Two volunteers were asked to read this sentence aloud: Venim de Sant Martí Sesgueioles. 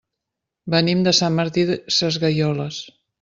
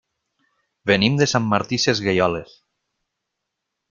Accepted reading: second